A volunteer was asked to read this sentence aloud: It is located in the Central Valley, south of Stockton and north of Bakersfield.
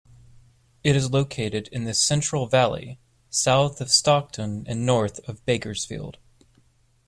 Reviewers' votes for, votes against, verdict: 2, 0, accepted